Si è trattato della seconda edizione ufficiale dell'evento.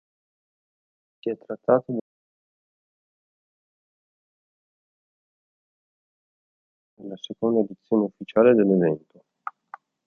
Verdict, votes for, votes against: rejected, 0, 3